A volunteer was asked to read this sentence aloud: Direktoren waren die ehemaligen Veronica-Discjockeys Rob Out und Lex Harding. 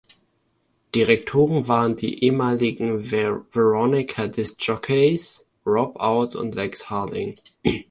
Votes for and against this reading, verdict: 0, 2, rejected